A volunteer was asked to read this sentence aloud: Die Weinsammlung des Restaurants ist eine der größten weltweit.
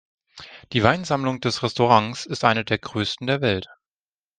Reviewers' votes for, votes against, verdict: 0, 2, rejected